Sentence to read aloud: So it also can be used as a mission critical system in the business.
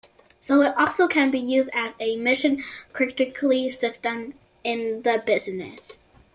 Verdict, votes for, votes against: rejected, 0, 2